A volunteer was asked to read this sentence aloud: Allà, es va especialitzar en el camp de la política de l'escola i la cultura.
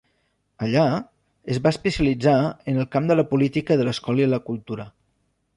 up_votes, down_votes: 3, 0